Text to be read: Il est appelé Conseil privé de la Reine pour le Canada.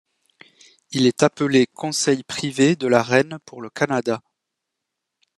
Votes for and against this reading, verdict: 2, 0, accepted